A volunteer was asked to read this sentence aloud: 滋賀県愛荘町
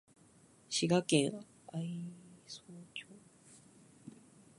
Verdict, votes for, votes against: rejected, 1, 2